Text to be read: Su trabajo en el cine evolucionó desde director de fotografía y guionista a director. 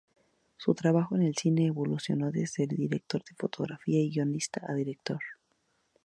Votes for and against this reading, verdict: 2, 0, accepted